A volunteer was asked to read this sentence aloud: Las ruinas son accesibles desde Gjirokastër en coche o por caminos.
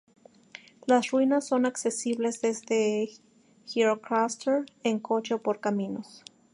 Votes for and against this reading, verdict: 2, 0, accepted